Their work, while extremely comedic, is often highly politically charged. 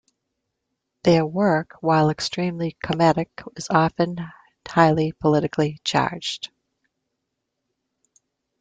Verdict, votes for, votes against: rejected, 1, 2